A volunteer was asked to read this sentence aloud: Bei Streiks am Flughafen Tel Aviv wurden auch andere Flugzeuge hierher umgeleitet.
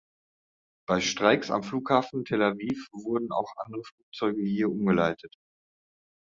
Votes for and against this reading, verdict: 1, 2, rejected